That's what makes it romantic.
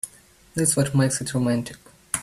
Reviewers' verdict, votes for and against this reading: accepted, 3, 0